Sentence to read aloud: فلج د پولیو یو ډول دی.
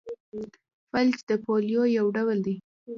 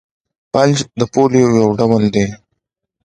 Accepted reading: second